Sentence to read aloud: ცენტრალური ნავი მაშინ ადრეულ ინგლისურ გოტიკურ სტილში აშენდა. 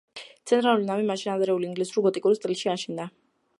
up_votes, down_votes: 1, 2